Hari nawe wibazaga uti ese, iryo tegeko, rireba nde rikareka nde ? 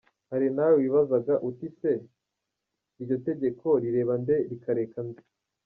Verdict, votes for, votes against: rejected, 0, 3